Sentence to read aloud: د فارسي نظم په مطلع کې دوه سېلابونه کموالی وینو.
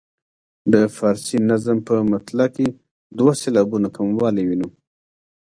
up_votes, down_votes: 3, 0